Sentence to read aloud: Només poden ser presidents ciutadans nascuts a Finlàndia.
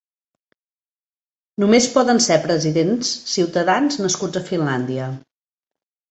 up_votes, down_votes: 5, 0